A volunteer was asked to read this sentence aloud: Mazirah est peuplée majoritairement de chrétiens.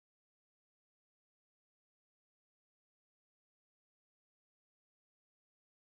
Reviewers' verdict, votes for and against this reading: rejected, 1, 2